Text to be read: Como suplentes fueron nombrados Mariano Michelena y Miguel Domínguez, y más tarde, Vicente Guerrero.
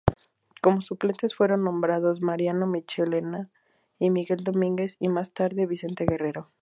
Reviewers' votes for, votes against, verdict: 2, 0, accepted